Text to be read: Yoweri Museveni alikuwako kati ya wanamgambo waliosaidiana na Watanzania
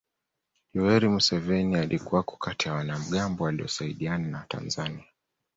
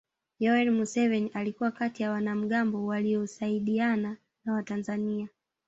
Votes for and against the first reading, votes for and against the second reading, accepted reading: 2, 0, 1, 2, first